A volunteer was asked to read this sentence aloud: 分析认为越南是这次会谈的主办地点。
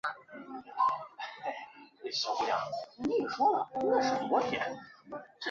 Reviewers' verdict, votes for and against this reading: rejected, 0, 4